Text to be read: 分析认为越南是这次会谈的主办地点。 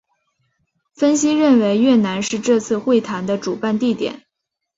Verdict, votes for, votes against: accepted, 4, 3